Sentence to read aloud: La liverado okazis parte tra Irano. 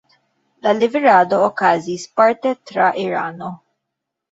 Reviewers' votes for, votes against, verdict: 0, 2, rejected